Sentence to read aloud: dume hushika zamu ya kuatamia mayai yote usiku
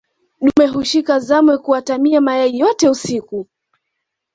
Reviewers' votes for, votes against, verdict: 2, 0, accepted